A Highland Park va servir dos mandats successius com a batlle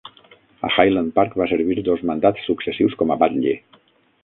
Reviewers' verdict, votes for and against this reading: rejected, 3, 9